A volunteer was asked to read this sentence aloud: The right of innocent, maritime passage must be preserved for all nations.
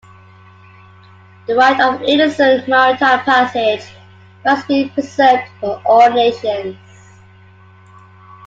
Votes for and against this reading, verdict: 2, 1, accepted